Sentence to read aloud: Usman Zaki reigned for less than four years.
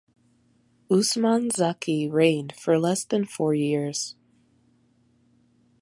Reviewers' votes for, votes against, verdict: 2, 0, accepted